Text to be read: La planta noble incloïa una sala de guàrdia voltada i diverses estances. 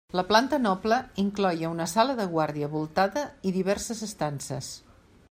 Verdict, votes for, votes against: rejected, 0, 2